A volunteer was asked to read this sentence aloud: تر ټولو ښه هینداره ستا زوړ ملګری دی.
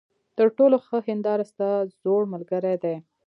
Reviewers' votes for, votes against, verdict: 1, 2, rejected